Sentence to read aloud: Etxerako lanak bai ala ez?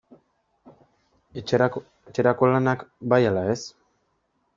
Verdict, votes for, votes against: rejected, 0, 2